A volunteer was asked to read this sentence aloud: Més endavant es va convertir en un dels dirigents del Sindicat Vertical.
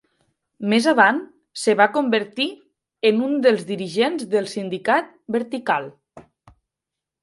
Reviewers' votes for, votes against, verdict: 0, 2, rejected